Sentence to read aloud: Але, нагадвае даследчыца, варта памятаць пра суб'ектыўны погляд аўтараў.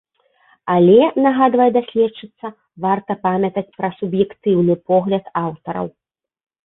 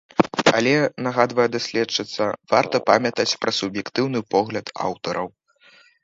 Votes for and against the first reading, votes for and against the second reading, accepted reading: 2, 0, 0, 3, first